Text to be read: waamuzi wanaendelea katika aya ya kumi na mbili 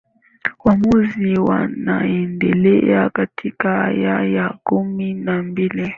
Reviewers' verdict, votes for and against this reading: accepted, 2, 0